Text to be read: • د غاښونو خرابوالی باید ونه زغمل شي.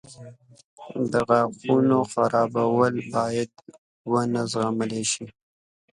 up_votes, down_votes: 1, 2